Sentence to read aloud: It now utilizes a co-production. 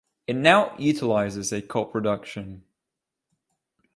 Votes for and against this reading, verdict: 3, 0, accepted